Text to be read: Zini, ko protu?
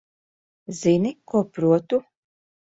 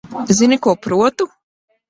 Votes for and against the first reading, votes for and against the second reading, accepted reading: 2, 0, 1, 2, first